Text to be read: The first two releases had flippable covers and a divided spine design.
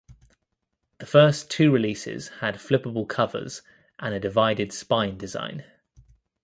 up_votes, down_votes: 2, 0